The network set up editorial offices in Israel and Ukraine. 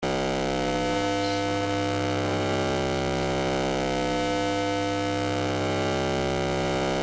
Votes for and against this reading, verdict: 0, 2, rejected